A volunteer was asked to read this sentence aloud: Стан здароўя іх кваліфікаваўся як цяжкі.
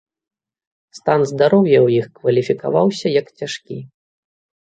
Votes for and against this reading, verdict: 1, 2, rejected